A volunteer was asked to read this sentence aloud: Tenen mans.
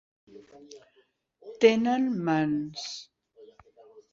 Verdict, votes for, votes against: accepted, 3, 0